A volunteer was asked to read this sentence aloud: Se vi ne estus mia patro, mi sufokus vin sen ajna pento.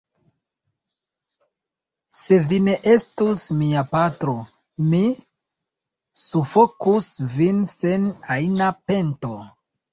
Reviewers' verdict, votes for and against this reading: rejected, 1, 2